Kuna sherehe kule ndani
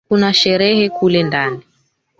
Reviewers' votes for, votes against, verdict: 1, 3, rejected